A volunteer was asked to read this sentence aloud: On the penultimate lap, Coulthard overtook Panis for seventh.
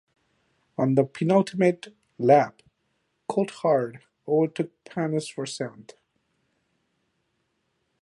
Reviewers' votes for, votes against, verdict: 0, 2, rejected